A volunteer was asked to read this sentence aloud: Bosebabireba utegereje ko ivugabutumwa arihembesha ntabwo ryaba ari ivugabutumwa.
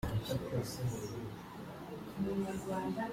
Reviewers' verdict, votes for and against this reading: rejected, 0, 2